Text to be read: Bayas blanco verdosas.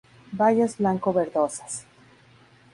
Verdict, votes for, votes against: rejected, 0, 2